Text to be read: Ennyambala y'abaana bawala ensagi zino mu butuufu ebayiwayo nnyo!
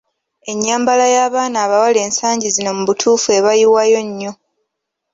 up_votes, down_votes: 2, 1